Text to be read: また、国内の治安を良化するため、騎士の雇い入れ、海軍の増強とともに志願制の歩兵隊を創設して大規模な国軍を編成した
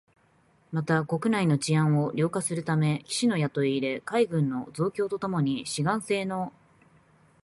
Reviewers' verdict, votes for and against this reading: rejected, 0, 2